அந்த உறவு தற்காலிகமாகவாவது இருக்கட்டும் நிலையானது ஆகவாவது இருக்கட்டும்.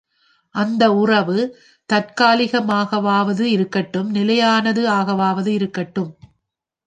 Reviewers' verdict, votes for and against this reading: accepted, 2, 1